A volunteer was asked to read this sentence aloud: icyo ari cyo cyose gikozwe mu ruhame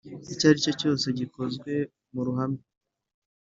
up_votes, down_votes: 2, 0